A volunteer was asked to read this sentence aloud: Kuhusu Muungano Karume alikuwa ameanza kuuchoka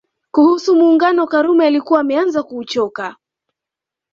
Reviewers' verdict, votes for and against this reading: accepted, 2, 0